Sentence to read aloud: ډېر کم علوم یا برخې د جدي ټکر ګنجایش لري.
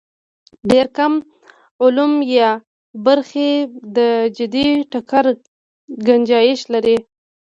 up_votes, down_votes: 2, 0